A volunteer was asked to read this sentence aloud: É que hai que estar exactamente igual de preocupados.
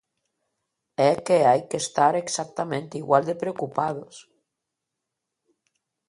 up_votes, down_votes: 2, 0